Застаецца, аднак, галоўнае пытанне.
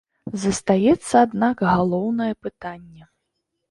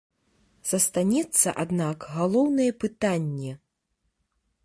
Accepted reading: first